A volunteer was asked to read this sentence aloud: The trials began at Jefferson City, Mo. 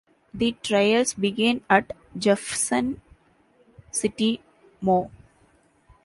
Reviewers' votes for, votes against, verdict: 1, 2, rejected